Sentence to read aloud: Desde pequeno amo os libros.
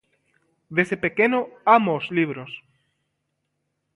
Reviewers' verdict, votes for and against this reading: accepted, 2, 0